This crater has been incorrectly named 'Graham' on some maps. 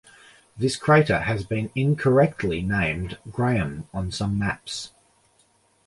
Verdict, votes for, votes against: accepted, 2, 0